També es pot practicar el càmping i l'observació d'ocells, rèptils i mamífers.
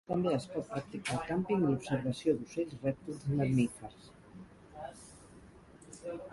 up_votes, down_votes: 2, 4